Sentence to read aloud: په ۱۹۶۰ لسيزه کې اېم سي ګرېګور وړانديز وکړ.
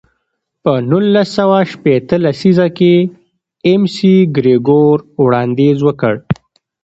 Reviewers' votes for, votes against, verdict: 0, 2, rejected